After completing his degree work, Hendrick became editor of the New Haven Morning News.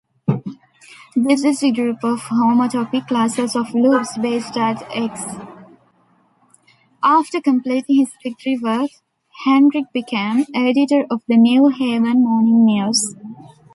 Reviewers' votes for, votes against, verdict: 1, 2, rejected